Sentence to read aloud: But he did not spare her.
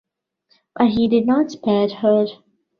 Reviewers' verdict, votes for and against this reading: rejected, 0, 2